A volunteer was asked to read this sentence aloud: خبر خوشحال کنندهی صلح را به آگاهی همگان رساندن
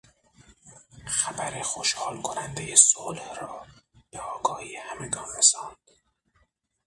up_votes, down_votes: 0, 6